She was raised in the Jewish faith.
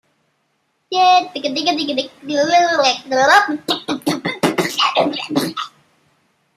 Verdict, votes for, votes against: rejected, 0, 2